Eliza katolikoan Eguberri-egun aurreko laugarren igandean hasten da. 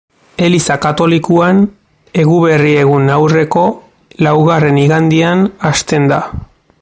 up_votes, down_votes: 2, 0